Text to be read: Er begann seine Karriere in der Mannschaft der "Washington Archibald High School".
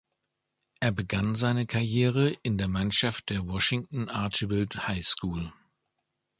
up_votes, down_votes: 2, 0